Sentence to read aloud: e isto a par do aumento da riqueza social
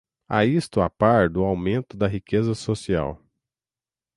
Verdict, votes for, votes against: accepted, 6, 0